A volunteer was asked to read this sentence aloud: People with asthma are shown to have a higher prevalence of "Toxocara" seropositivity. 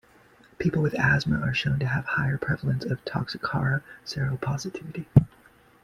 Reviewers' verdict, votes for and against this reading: accepted, 2, 1